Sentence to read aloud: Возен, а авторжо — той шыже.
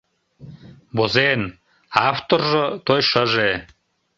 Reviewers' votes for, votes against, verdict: 2, 0, accepted